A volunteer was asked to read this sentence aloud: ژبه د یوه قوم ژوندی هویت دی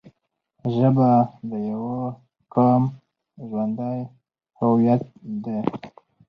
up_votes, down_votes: 4, 0